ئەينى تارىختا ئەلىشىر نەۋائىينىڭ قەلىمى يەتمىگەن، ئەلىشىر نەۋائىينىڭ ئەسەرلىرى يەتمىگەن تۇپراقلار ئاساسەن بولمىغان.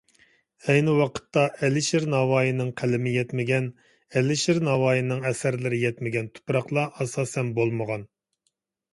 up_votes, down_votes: 1, 2